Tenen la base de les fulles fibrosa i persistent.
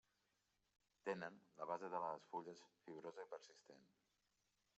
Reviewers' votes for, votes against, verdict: 3, 1, accepted